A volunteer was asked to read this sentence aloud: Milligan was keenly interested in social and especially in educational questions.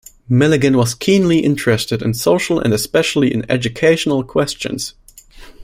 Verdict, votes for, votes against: accepted, 2, 0